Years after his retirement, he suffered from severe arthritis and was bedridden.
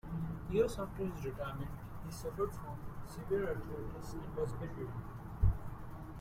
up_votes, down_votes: 1, 2